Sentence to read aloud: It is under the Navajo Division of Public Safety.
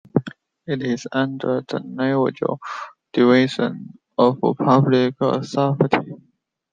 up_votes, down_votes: 1, 2